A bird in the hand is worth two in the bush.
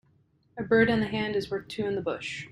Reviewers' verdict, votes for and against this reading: accepted, 2, 0